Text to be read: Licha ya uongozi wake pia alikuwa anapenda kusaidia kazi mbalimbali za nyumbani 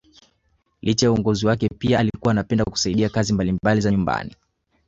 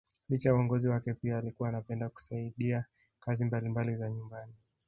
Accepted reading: first